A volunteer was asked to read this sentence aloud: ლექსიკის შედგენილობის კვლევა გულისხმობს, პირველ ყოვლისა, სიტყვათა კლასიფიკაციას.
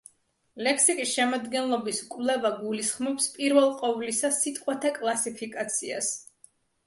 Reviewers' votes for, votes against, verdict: 1, 2, rejected